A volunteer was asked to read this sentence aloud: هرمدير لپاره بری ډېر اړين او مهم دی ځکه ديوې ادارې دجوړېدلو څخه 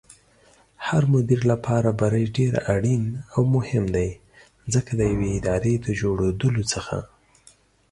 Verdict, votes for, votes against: accepted, 2, 0